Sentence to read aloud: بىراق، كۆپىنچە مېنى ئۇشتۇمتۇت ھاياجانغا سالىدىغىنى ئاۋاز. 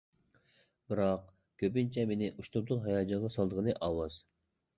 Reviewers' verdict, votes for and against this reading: accepted, 2, 0